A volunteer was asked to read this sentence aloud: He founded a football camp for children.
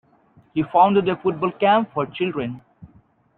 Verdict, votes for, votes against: accepted, 2, 1